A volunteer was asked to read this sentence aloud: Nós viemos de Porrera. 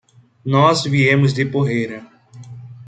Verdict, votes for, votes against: accepted, 2, 0